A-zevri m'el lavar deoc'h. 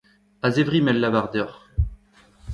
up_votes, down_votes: 2, 0